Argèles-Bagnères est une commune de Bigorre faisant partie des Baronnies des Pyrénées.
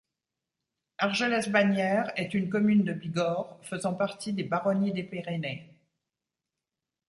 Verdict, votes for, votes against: rejected, 1, 2